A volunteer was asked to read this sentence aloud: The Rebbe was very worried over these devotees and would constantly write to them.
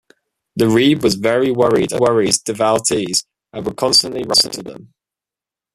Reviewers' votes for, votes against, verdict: 0, 2, rejected